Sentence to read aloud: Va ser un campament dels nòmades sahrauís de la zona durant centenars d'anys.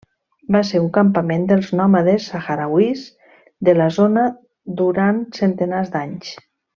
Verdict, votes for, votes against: rejected, 1, 2